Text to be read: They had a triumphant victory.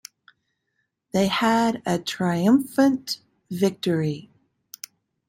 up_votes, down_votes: 2, 0